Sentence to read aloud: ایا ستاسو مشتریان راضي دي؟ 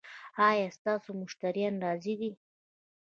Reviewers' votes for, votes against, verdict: 2, 0, accepted